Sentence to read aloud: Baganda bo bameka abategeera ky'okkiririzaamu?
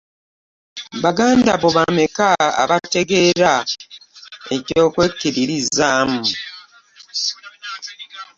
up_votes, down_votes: 1, 2